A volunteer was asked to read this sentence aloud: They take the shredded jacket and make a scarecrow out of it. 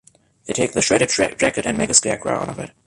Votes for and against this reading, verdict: 1, 2, rejected